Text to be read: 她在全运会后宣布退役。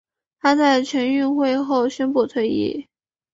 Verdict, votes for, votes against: accepted, 3, 0